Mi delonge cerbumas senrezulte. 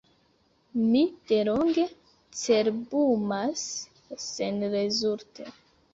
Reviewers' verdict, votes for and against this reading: accepted, 2, 1